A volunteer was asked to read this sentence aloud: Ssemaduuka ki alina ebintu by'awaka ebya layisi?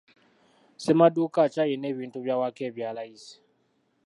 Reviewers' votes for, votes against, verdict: 2, 0, accepted